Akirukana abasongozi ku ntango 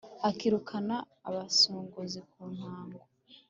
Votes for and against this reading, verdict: 2, 0, accepted